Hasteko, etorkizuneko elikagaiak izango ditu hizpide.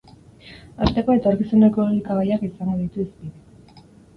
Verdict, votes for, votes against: rejected, 0, 4